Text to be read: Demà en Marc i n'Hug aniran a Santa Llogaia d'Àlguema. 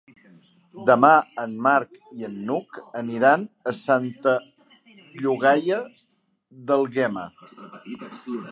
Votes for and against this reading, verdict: 1, 3, rejected